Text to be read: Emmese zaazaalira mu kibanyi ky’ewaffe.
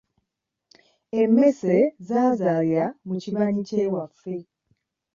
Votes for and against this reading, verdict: 2, 0, accepted